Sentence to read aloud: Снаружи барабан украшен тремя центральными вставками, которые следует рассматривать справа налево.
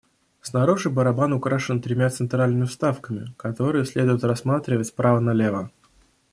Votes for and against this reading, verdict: 2, 0, accepted